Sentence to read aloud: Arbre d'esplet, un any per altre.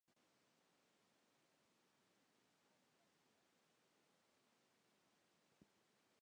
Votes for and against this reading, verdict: 0, 2, rejected